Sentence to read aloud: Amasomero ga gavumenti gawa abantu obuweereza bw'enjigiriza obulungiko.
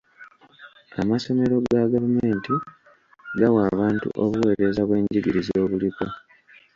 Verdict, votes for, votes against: rejected, 0, 2